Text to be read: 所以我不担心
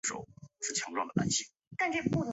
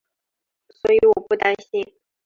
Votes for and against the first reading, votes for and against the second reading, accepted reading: 2, 5, 2, 0, second